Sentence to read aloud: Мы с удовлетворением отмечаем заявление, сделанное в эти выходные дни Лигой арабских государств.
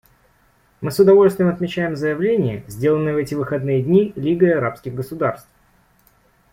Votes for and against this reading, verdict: 1, 2, rejected